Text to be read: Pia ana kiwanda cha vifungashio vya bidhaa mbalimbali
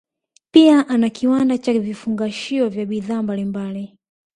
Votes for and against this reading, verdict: 2, 0, accepted